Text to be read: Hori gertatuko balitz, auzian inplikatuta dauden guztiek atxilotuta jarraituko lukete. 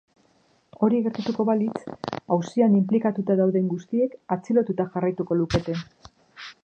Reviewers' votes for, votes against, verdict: 2, 0, accepted